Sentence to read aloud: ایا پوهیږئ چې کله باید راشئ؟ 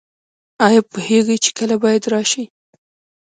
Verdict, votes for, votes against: rejected, 2, 3